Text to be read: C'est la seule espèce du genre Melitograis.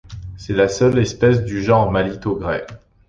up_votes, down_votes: 0, 2